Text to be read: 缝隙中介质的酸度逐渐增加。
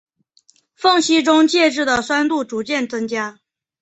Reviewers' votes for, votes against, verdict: 3, 0, accepted